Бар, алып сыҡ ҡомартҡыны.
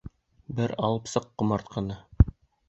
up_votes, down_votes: 1, 2